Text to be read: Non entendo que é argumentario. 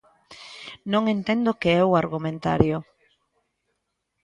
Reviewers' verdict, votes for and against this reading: rejected, 0, 2